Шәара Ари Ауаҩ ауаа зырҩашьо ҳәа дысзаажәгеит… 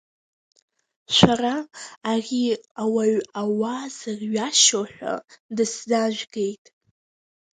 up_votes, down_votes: 1, 2